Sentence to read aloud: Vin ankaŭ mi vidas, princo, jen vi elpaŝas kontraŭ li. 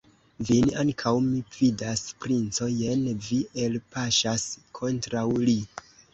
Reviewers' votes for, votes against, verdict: 1, 2, rejected